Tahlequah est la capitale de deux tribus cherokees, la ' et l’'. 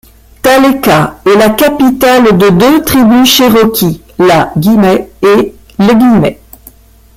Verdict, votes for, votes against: rejected, 0, 2